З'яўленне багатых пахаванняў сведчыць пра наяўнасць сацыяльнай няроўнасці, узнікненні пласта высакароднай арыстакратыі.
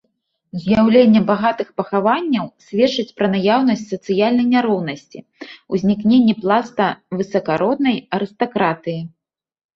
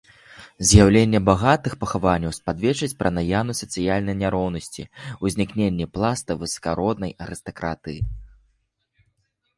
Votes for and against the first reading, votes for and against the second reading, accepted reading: 2, 0, 0, 2, first